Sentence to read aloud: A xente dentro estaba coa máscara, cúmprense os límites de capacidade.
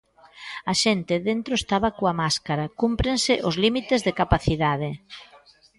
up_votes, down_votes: 2, 0